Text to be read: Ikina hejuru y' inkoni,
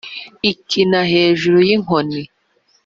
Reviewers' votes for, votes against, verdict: 5, 0, accepted